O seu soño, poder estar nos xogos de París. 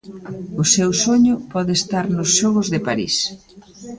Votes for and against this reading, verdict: 0, 2, rejected